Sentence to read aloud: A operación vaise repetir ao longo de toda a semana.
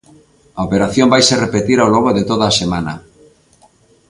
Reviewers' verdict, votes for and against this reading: accepted, 2, 1